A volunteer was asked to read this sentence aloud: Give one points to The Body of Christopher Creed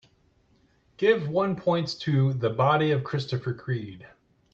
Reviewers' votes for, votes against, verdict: 2, 0, accepted